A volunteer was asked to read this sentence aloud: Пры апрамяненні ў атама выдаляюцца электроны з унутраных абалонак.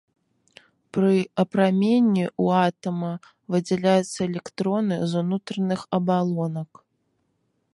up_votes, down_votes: 1, 2